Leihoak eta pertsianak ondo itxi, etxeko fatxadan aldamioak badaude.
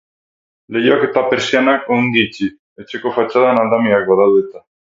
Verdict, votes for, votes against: rejected, 0, 4